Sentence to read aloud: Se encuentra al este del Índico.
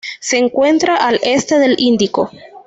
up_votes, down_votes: 0, 2